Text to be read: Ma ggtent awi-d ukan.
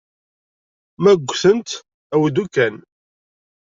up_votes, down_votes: 1, 2